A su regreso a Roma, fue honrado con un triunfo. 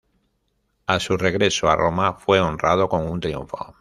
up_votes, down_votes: 2, 1